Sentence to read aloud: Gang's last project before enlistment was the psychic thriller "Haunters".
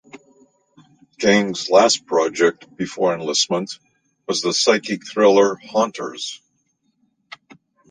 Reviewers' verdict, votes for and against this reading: accepted, 2, 0